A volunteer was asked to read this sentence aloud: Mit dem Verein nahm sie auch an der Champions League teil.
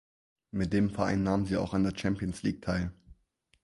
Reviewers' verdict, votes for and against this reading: accepted, 4, 0